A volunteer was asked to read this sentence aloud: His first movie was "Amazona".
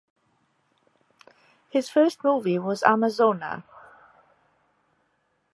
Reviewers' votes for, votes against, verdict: 2, 0, accepted